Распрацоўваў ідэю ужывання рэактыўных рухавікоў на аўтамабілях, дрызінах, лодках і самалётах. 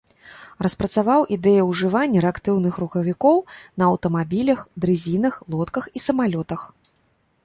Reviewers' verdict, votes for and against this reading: rejected, 1, 2